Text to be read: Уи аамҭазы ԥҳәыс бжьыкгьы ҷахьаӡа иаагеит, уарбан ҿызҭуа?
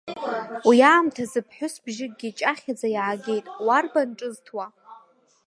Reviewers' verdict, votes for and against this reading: rejected, 1, 2